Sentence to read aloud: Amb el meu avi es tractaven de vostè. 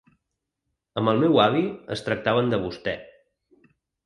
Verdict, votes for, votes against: accepted, 3, 0